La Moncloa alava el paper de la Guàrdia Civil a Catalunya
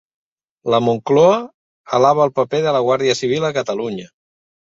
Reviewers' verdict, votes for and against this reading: accepted, 2, 0